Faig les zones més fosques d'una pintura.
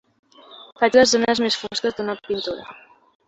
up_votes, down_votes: 4, 0